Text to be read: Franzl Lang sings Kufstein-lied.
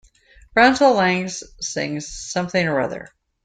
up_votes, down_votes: 0, 2